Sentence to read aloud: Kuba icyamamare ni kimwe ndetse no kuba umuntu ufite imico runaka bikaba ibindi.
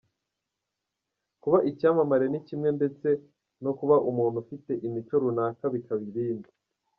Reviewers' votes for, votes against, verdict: 2, 1, accepted